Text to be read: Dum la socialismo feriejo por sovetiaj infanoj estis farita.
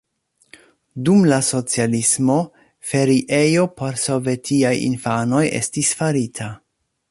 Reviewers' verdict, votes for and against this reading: accepted, 2, 0